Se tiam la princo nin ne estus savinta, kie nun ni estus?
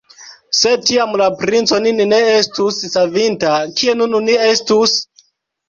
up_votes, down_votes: 1, 2